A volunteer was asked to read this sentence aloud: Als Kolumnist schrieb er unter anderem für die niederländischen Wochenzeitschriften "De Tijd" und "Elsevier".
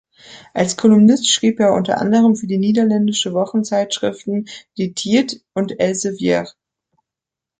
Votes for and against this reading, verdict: 1, 2, rejected